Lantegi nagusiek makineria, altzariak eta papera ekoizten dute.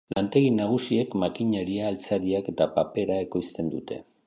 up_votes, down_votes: 2, 0